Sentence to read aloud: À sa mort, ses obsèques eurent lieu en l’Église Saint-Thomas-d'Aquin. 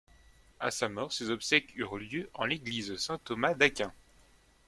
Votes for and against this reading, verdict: 2, 0, accepted